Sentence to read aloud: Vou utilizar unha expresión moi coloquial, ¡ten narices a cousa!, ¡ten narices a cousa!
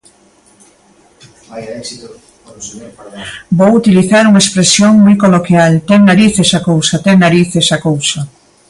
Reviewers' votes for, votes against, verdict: 0, 2, rejected